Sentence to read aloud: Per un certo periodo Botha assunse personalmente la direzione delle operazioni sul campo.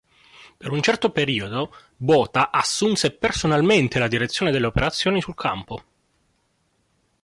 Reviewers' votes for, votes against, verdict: 2, 0, accepted